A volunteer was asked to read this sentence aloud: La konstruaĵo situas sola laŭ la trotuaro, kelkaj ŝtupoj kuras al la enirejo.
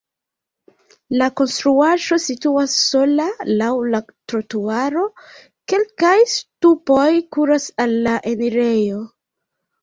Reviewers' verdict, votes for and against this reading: rejected, 0, 2